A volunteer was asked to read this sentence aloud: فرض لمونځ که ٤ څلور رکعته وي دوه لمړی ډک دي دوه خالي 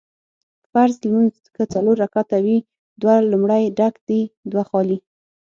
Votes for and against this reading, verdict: 0, 2, rejected